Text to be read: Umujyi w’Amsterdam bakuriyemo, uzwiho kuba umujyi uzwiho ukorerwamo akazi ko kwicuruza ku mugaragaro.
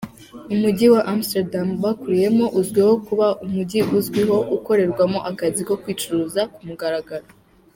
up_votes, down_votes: 2, 0